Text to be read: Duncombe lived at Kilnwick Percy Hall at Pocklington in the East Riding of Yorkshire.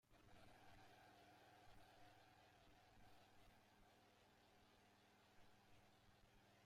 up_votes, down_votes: 0, 2